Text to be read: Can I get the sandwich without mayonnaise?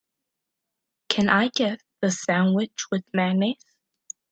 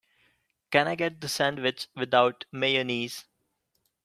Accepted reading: second